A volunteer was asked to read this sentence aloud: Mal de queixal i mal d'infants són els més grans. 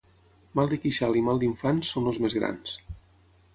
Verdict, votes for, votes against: rejected, 0, 6